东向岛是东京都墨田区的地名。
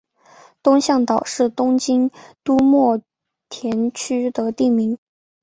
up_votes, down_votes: 2, 0